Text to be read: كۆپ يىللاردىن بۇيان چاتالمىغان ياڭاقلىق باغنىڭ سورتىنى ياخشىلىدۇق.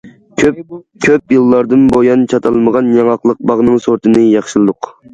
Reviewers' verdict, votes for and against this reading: rejected, 0, 2